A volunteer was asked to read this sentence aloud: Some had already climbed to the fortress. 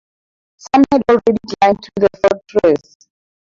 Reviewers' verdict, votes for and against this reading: rejected, 2, 2